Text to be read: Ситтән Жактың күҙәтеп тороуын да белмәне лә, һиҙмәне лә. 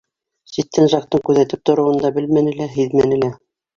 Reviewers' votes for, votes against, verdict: 2, 3, rejected